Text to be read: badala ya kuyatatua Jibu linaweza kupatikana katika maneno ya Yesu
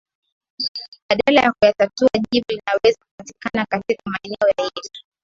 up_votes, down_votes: 2, 0